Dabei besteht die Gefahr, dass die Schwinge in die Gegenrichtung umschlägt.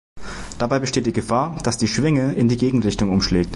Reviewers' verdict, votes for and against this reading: accepted, 2, 0